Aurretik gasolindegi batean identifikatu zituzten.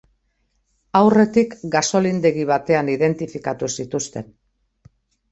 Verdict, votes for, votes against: accepted, 2, 0